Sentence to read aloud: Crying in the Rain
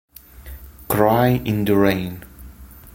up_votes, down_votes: 1, 2